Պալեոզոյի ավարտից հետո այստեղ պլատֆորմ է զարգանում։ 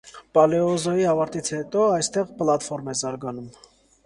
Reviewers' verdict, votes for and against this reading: accepted, 2, 0